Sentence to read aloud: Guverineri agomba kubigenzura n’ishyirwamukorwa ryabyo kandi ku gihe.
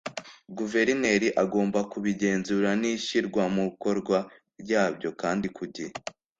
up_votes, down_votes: 2, 0